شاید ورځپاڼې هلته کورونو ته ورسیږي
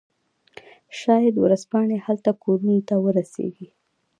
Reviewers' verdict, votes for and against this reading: rejected, 0, 2